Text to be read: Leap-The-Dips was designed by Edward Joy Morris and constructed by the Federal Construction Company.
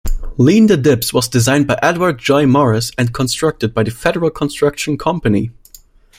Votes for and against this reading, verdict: 0, 2, rejected